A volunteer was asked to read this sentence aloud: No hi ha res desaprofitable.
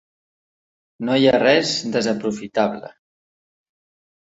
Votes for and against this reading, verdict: 3, 1, accepted